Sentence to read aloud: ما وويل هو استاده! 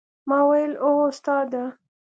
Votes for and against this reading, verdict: 3, 0, accepted